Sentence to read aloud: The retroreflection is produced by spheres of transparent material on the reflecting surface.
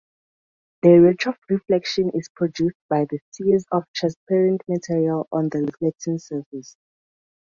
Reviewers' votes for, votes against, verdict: 0, 2, rejected